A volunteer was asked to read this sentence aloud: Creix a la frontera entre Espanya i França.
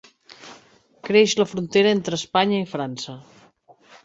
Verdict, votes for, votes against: accepted, 2, 1